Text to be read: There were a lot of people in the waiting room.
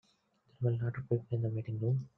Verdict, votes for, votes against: rejected, 0, 2